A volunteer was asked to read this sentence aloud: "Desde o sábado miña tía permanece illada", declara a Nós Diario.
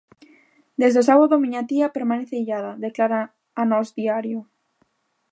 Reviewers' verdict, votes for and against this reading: rejected, 1, 2